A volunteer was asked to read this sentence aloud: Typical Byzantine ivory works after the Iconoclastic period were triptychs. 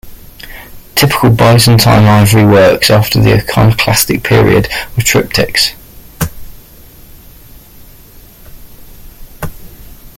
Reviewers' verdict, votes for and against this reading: rejected, 0, 2